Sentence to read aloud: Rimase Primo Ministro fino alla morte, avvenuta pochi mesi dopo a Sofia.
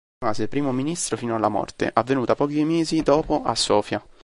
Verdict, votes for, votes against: accepted, 2, 1